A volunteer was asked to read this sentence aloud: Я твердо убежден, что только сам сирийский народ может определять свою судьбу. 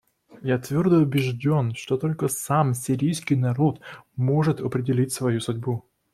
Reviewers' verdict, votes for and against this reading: rejected, 0, 2